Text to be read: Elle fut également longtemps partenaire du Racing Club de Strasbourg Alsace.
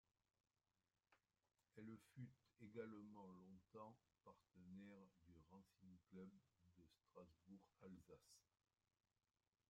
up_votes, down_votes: 0, 2